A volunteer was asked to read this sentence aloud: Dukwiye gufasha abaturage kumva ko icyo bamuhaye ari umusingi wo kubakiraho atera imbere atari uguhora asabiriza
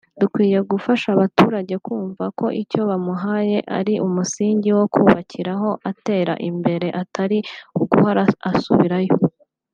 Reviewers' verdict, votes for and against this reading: rejected, 1, 2